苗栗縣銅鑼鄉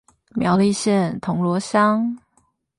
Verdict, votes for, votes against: accepted, 8, 0